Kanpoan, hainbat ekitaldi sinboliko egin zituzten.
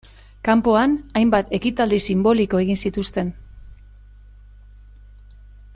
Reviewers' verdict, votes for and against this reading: accepted, 2, 0